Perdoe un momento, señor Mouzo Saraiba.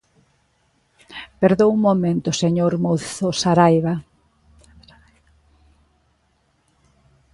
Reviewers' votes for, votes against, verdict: 2, 0, accepted